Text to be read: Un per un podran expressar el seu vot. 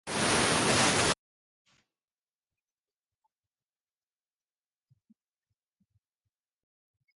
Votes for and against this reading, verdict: 0, 2, rejected